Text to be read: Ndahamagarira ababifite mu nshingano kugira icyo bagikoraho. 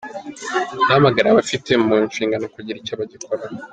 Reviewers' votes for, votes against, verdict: 3, 1, accepted